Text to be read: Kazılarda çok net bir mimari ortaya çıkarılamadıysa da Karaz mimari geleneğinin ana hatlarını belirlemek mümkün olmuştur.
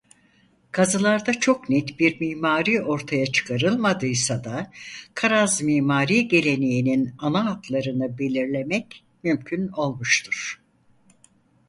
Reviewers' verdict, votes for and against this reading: rejected, 2, 4